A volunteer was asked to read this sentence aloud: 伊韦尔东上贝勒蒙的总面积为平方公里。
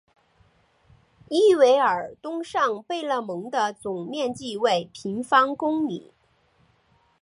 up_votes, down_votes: 2, 1